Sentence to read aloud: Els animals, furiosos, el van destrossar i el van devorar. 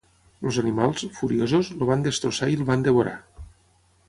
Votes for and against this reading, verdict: 3, 6, rejected